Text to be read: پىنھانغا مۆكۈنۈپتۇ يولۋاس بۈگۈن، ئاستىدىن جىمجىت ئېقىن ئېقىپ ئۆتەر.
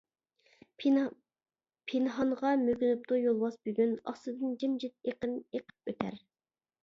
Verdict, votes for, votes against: rejected, 0, 2